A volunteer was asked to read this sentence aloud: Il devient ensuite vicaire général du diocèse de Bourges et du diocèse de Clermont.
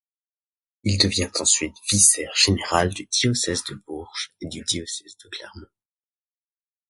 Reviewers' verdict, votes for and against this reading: rejected, 0, 2